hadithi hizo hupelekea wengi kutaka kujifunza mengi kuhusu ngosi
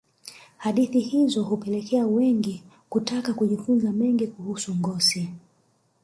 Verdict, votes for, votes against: rejected, 0, 2